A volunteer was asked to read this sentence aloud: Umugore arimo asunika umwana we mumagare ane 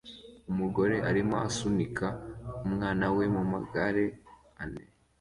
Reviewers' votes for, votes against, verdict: 2, 0, accepted